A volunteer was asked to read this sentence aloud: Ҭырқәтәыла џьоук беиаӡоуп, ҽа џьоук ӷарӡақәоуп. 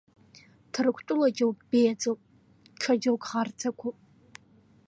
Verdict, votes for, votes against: accepted, 2, 0